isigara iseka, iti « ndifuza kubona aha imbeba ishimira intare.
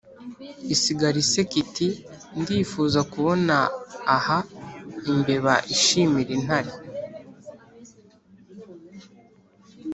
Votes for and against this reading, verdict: 2, 0, accepted